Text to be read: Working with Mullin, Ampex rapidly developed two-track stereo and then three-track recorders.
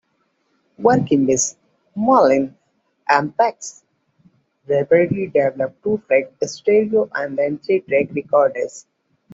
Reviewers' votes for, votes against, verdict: 1, 2, rejected